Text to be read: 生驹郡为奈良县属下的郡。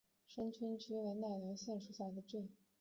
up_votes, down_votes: 2, 1